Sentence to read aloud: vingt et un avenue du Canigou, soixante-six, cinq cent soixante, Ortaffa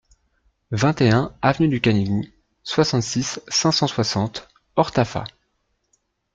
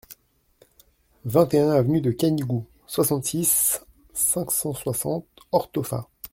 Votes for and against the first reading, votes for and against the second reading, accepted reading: 2, 0, 0, 2, first